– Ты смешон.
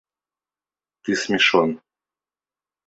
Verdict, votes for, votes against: accepted, 2, 0